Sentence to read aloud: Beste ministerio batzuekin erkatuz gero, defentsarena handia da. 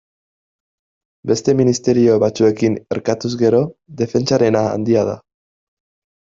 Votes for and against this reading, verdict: 2, 1, accepted